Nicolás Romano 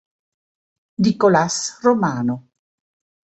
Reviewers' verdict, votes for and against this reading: accepted, 2, 0